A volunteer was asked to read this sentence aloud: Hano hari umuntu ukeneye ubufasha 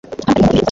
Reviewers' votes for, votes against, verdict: 2, 0, accepted